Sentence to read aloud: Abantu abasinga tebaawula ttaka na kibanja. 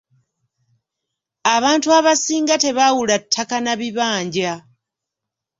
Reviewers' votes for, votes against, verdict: 1, 2, rejected